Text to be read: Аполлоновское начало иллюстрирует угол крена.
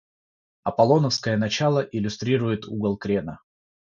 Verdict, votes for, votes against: accepted, 6, 0